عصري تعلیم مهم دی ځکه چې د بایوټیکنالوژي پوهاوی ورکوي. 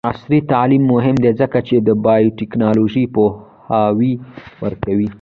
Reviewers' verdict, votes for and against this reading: rejected, 1, 2